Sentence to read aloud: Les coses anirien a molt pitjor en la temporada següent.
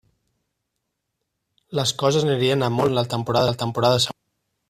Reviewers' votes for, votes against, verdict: 0, 2, rejected